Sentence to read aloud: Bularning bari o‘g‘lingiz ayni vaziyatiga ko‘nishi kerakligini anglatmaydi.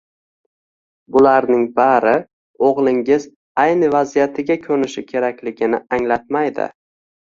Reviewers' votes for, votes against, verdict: 2, 1, accepted